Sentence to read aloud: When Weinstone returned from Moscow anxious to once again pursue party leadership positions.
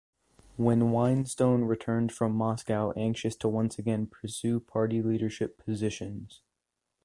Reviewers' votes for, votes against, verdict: 2, 0, accepted